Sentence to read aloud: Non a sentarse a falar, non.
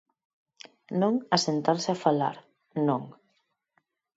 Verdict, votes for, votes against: accepted, 4, 0